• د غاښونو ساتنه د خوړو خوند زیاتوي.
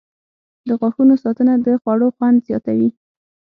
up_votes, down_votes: 6, 0